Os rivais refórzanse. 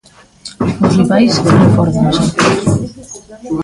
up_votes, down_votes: 0, 2